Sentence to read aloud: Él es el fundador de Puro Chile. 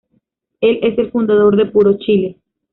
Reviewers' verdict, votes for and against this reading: rejected, 1, 2